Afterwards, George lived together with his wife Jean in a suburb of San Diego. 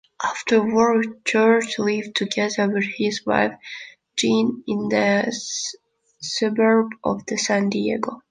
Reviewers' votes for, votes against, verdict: 1, 2, rejected